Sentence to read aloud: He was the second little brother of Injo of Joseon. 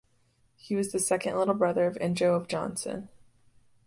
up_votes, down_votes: 0, 2